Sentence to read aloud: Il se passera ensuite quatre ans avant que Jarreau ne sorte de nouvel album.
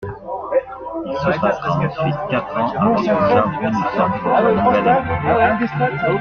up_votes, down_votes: 0, 2